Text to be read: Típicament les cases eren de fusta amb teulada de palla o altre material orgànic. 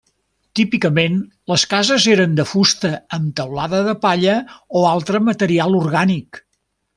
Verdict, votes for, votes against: accepted, 3, 0